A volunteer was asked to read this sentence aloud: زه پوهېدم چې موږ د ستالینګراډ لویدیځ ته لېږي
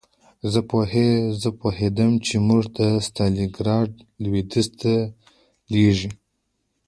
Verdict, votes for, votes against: accepted, 2, 1